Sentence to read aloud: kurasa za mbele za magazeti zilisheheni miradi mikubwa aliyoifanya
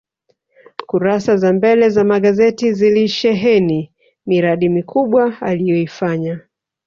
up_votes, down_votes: 1, 2